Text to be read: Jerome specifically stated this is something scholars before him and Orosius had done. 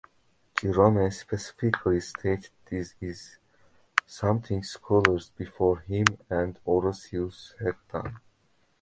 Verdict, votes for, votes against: rejected, 0, 2